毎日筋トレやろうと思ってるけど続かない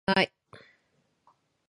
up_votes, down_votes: 0, 2